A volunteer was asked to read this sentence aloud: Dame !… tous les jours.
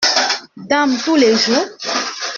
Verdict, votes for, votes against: rejected, 0, 2